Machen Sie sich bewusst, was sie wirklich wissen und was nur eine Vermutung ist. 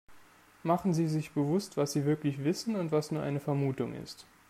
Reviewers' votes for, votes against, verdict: 2, 0, accepted